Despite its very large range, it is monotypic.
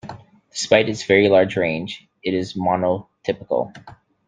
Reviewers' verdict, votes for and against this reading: rejected, 0, 2